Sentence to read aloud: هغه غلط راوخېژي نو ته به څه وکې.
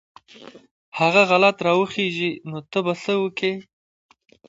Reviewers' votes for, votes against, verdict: 2, 1, accepted